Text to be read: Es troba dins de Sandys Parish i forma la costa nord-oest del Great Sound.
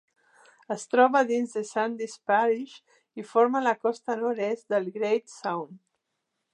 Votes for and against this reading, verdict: 0, 2, rejected